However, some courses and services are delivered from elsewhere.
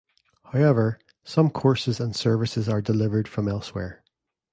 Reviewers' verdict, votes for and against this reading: accepted, 2, 0